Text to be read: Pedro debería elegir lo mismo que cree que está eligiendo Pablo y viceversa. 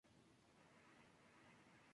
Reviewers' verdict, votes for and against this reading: rejected, 0, 4